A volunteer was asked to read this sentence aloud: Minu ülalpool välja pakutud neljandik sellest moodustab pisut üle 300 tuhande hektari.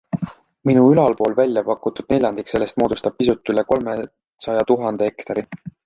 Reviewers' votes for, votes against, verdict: 0, 2, rejected